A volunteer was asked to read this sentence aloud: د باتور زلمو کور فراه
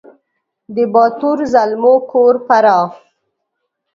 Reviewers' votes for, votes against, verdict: 2, 0, accepted